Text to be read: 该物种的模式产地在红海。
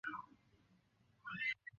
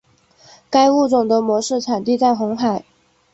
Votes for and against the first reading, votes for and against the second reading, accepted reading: 0, 2, 3, 1, second